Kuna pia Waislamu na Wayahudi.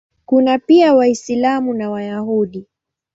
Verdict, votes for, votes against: accepted, 2, 1